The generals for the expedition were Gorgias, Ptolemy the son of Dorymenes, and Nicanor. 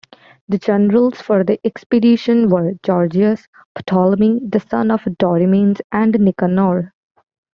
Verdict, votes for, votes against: accepted, 2, 0